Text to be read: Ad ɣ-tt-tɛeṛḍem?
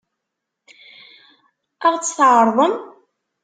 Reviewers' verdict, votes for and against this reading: accepted, 2, 0